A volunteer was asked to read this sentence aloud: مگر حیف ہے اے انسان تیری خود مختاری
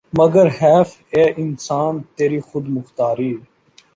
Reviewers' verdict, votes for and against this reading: accepted, 2, 0